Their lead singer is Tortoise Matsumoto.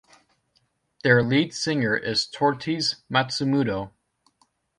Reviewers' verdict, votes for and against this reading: rejected, 0, 2